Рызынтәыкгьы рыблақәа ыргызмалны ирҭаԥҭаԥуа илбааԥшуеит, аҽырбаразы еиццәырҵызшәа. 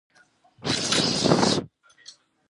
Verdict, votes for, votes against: rejected, 0, 2